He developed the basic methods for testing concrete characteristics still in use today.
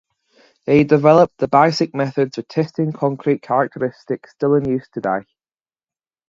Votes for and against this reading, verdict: 2, 2, rejected